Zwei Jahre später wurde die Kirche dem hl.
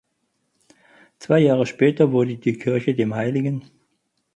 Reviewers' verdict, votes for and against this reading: rejected, 2, 2